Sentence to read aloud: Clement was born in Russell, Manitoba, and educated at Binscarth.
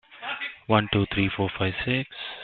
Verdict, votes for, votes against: rejected, 0, 2